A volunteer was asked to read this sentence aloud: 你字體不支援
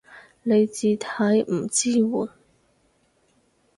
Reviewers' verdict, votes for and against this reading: rejected, 0, 4